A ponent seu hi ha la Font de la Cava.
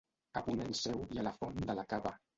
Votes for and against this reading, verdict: 1, 2, rejected